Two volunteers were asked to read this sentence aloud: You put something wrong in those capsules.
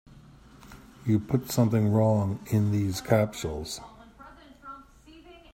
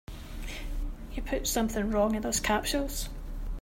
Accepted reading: second